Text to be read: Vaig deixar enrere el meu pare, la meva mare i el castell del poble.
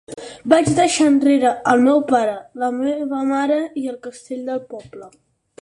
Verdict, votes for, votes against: accepted, 6, 0